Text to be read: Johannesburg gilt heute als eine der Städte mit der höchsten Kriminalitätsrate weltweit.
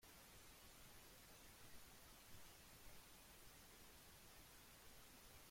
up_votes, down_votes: 0, 2